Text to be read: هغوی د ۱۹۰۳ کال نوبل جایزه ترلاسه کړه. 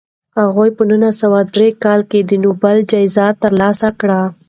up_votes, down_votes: 0, 2